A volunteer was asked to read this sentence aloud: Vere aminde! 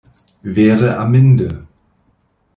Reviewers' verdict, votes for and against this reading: rejected, 0, 2